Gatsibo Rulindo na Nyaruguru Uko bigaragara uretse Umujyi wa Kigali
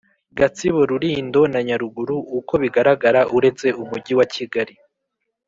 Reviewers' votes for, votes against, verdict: 3, 0, accepted